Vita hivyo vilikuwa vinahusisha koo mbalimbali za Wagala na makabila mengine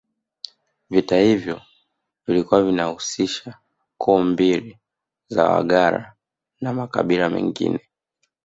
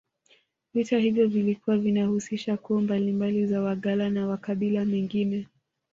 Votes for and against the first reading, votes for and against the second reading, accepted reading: 1, 2, 2, 0, second